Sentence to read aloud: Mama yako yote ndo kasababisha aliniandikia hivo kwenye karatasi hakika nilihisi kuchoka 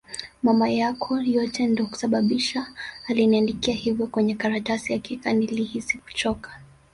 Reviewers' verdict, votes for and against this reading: accepted, 2, 1